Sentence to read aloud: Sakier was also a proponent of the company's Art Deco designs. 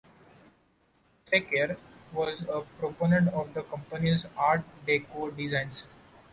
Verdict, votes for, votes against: accepted, 2, 0